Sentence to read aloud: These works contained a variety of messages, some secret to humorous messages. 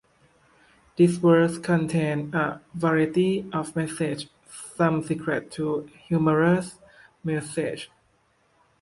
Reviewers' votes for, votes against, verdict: 0, 2, rejected